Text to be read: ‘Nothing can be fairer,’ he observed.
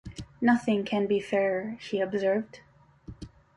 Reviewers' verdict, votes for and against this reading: accepted, 2, 0